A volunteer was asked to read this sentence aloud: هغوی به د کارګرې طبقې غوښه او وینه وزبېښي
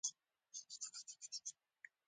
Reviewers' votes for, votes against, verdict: 1, 2, rejected